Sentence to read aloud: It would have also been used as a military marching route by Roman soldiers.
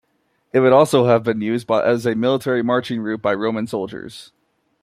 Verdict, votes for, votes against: rejected, 0, 2